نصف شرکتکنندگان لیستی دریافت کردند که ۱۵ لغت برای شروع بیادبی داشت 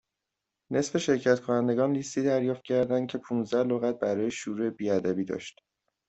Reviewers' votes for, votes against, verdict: 0, 2, rejected